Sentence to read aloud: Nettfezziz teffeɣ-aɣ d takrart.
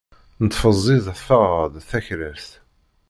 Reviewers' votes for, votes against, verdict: 1, 2, rejected